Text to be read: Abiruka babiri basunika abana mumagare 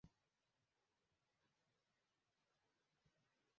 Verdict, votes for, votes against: rejected, 0, 2